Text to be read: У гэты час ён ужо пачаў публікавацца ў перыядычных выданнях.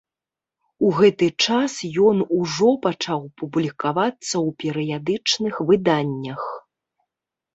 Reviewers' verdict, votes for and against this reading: accepted, 2, 0